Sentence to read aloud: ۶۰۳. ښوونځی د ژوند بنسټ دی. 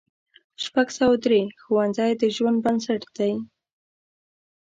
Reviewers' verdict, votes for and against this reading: rejected, 0, 2